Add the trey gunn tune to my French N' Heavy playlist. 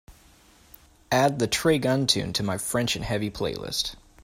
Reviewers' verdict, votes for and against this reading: accepted, 2, 0